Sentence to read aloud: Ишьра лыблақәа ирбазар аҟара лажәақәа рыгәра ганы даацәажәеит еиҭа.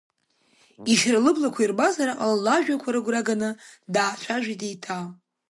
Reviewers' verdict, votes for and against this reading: rejected, 0, 2